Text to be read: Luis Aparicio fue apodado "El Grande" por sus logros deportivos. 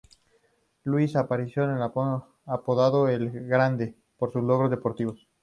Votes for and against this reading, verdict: 0, 2, rejected